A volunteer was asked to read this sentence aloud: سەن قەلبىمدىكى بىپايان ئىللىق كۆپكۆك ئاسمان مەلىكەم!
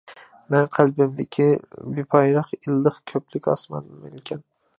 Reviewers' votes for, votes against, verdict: 0, 2, rejected